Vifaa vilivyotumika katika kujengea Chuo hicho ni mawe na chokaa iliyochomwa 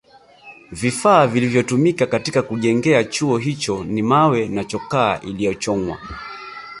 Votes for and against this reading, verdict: 0, 2, rejected